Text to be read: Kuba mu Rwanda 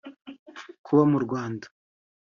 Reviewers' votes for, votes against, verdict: 2, 0, accepted